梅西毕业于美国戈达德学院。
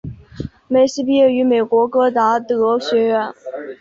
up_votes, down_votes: 2, 0